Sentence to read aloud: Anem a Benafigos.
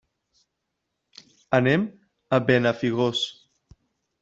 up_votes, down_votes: 0, 2